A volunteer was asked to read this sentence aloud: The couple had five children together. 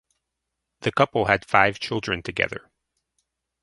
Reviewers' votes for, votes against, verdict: 2, 2, rejected